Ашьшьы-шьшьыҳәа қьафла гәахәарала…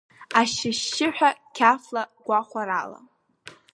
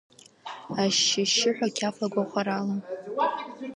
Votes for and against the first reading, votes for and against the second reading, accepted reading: 2, 0, 1, 2, first